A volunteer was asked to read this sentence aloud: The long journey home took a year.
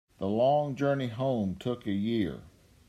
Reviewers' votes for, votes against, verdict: 2, 0, accepted